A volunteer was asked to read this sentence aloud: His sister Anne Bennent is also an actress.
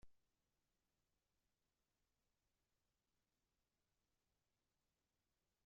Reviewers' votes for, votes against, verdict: 0, 2, rejected